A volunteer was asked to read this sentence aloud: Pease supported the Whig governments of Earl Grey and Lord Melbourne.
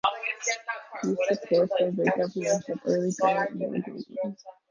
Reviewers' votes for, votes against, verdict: 0, 2, rejected